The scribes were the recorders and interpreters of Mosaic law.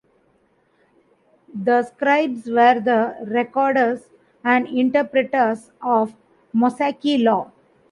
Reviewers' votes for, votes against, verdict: 1, 2, rejected